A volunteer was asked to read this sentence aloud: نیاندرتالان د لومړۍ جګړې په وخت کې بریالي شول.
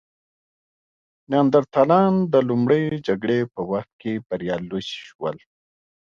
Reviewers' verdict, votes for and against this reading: rejected, 1, 3